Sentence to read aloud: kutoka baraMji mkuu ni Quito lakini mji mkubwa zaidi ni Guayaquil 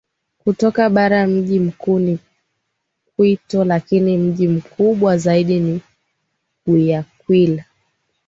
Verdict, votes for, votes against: accepted, 2, 0